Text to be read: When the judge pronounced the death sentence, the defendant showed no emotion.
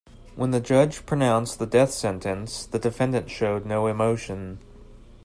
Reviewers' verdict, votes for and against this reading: accepted, 2, 0